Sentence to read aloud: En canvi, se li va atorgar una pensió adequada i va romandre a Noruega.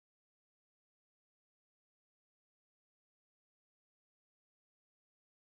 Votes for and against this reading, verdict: 0, 2, rejected